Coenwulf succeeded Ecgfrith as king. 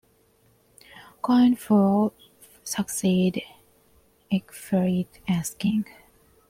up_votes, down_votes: 2, 0